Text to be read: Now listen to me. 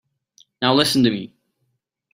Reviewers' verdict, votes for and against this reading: accepted, 4, 1